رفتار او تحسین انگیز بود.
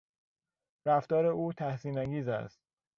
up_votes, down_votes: 1, 2